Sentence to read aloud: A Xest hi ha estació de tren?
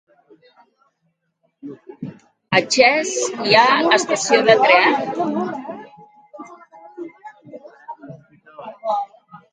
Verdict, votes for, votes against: accepted, 2, 1